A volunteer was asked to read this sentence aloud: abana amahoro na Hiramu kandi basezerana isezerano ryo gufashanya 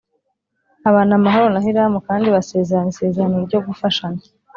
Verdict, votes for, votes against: accepted, 2, 0